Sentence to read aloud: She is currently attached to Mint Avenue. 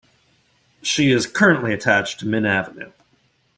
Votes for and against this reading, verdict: 2, 0, accepted